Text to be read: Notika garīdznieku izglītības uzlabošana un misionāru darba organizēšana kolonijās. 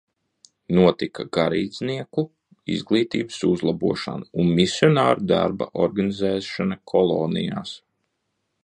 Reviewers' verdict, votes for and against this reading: accepted, 2, 0